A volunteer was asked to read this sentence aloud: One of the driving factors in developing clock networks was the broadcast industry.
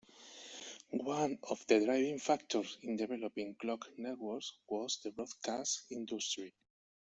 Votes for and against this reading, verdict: 1, 2, rejected